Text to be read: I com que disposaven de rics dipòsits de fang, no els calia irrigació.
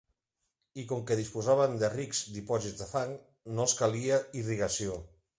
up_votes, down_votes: 1, 2